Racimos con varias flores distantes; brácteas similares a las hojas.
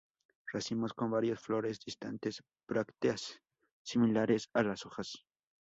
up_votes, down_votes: 2, 0